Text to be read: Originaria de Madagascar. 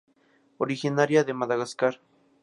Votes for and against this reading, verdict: 2, 0, accepted